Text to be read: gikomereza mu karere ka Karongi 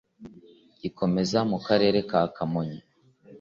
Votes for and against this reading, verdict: 1, 2, rejected